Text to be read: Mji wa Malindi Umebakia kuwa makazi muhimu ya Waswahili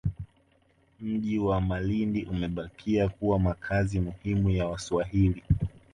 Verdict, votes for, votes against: rejected, 0, 2